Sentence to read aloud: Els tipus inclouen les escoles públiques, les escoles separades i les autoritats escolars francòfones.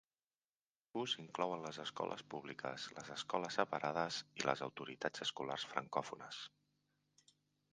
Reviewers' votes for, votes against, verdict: 0, 2, rejected